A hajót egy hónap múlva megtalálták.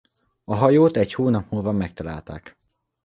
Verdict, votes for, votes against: accepted, 2, 0